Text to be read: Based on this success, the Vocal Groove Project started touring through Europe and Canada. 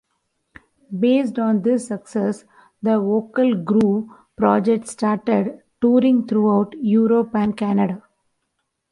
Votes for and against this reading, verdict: 0, 2, rejected